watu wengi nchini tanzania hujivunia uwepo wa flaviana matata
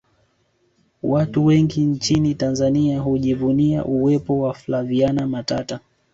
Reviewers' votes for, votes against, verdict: 0, 2, rejected